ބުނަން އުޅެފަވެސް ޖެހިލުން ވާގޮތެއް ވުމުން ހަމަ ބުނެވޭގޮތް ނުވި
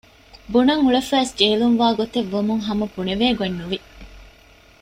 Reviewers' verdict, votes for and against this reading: accepted, 2, 0